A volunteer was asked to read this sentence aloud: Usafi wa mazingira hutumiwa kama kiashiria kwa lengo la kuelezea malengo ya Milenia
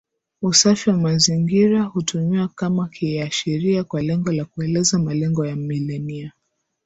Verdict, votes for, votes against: accepted, 9, 0